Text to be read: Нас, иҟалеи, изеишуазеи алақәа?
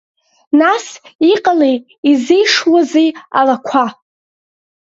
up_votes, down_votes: 2, 1